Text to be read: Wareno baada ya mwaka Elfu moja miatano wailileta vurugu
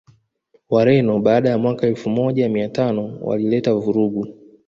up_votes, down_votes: 2, 0